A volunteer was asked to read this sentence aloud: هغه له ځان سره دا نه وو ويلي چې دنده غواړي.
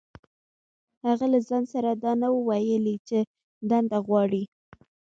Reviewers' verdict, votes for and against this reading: accepted, 2, 0